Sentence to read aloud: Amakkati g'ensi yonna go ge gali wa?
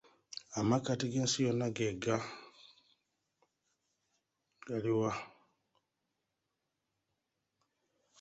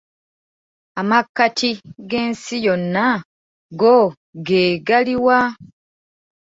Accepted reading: second